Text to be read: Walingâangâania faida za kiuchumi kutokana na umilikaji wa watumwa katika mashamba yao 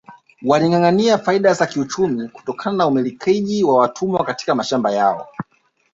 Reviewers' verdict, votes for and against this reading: accepted, 2, 1